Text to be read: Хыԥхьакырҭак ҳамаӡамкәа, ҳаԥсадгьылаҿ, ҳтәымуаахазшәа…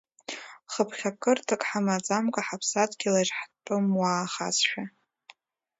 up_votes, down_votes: 2, 0